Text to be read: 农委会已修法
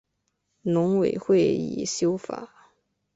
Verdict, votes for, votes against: accepted, 6, 0